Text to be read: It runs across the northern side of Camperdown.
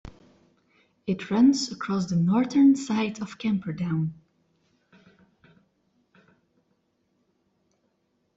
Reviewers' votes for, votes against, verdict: 2, 0, accepted